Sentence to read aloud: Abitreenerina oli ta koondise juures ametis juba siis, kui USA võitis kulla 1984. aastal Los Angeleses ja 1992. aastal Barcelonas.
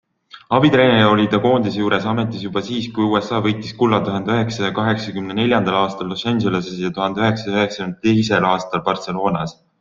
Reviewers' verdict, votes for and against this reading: rejected, 0, 2